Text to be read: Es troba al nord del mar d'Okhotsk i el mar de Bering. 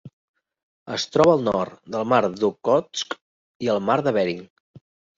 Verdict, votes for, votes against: accepted, 2, 0